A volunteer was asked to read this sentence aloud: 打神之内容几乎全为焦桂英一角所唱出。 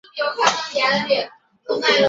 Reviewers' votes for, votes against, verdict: 0, 3, rejected